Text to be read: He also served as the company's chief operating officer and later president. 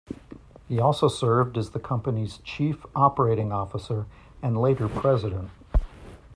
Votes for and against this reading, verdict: 2, 0, accepted